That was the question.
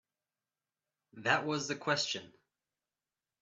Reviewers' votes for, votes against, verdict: 2, 0, accepted